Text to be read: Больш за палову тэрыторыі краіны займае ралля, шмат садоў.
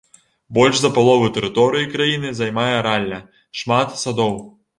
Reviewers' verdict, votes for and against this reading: rejected, 0, 2